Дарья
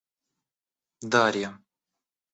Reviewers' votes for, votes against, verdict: 2, 0, accepted